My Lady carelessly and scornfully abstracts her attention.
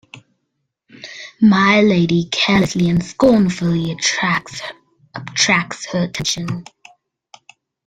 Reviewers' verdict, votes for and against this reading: rejected, 0, 2